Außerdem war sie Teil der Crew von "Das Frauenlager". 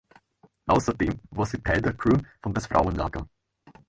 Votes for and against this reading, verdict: 2, 0, accepted